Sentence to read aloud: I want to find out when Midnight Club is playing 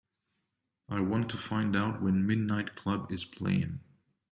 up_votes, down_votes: 3, 1